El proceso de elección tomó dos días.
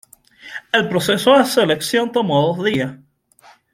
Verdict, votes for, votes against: rejected, 1, 2